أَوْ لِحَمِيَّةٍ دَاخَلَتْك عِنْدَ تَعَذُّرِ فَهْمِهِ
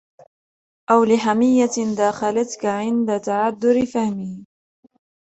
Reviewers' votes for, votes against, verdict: 2, 1, accepted